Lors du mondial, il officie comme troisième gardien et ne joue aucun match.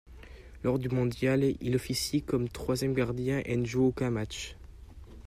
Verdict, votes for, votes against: accepted, 2, 0